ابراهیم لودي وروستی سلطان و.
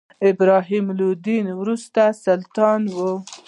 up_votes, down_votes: 1, 2